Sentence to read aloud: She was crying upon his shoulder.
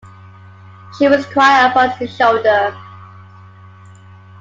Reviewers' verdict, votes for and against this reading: accepted, 2, 1